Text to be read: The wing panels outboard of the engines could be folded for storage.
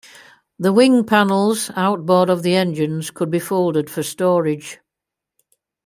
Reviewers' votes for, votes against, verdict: 2, 0, accepted